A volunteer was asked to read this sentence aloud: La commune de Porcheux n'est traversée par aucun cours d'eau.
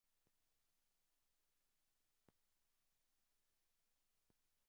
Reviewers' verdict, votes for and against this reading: rejected, 0, 2